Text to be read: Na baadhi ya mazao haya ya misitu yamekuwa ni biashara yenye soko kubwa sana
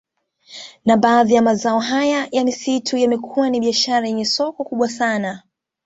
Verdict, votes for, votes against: accepted, 2, 0